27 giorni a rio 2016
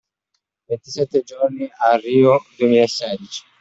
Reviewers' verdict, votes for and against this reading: rejected, 0, 2